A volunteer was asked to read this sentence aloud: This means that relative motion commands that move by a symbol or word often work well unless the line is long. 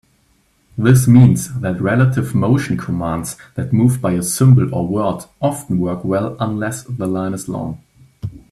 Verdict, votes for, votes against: accepted, 2, 0